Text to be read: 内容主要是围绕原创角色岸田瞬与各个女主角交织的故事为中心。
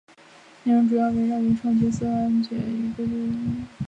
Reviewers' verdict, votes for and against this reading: rejected, 0, 5